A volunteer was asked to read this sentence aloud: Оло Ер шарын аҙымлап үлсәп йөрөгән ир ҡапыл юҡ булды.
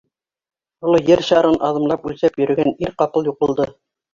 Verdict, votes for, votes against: rejected, 1, 2